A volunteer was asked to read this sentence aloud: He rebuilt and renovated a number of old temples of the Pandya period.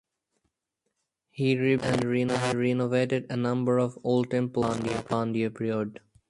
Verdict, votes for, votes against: rejected, 0, 4